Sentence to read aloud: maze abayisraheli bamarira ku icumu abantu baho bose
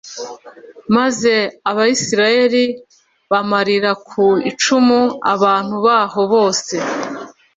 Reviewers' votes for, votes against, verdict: 2, 0, accepted